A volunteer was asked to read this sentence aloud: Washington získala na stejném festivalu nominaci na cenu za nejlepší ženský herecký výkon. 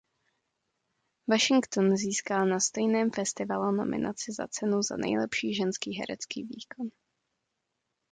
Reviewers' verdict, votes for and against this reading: rejected, 0, 2